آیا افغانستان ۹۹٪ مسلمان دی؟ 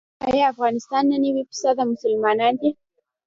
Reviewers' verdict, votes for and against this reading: rejected, 0, 2